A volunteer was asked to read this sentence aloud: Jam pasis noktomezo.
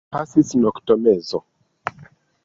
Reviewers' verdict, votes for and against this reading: rejected, 0, 2